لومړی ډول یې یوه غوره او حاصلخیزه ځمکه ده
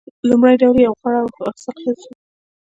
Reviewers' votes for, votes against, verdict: 2, 0, accepted